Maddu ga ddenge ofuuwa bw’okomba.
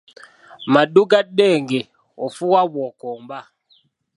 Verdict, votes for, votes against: accepted, 3, 0